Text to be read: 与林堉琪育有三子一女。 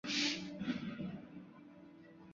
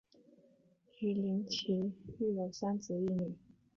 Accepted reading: second